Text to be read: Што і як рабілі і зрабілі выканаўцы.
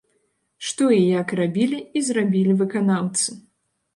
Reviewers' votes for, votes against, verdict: 2, 0, accepted